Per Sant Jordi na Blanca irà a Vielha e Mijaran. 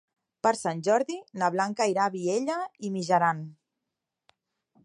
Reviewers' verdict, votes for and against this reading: rejected, 0, 2